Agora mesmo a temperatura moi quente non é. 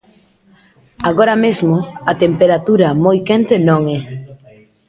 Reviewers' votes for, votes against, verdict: 1, 2, rejected